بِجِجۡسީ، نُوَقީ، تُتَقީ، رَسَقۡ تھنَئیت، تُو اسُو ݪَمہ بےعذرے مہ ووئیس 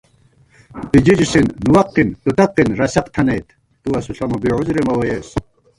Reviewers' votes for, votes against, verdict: 1, 2, rejected